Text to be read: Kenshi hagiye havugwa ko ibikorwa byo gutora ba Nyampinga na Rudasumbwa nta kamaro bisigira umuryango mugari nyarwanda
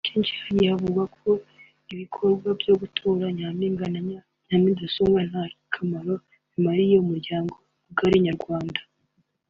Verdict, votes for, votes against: rejected, 1, 2